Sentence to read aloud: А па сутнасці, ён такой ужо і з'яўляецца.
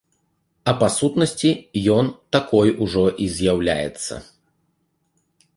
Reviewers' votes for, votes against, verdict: 2, 0, accepted